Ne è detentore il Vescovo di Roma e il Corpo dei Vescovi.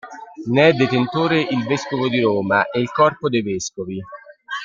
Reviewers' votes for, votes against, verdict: 2, 0, accepted